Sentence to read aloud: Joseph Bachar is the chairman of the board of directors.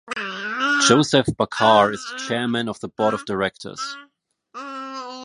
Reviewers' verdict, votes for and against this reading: rejected, 1, 2